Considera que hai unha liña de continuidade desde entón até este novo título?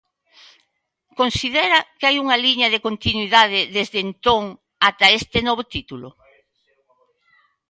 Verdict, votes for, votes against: accepted, 2, 1